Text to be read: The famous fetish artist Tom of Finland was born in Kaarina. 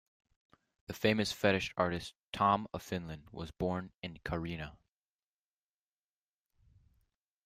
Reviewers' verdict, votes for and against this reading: accepted, 2, 0